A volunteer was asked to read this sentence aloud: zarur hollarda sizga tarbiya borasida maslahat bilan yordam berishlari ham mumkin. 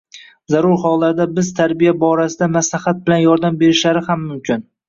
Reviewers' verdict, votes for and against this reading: rejected, 1, 2